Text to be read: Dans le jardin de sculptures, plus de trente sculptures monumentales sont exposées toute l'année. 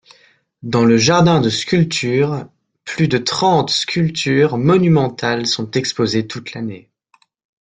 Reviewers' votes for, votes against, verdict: 2, 0, accepted